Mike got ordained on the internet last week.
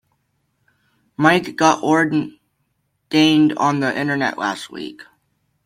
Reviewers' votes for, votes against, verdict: 0, 2, rejected